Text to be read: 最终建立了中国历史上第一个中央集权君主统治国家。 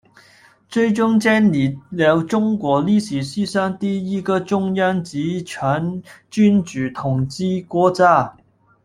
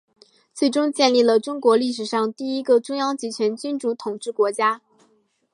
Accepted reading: second